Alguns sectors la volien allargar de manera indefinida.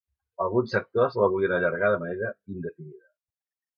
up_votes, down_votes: 1, 2